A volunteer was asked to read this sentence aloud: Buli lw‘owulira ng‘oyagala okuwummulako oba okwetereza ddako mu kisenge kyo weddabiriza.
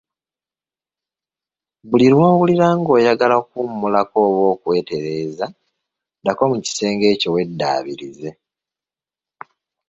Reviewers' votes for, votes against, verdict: 1, 2, rejected